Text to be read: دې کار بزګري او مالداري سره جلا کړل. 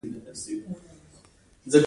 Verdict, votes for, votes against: rejected, 1, 2